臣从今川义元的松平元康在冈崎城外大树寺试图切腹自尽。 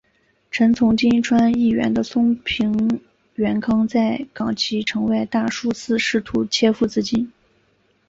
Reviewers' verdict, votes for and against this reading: accepted, 2, 0